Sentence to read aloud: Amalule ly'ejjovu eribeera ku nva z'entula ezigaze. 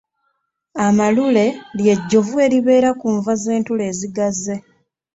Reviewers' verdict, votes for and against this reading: accepted, 2, 0